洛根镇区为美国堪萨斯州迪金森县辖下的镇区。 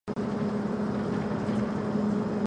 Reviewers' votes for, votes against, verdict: 0, 5, rejected